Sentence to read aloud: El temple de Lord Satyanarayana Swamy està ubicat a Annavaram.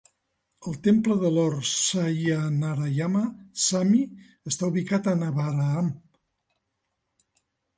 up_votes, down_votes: 2, 0